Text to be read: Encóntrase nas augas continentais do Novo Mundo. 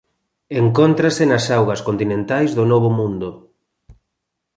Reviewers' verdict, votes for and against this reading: accepted, 2, 0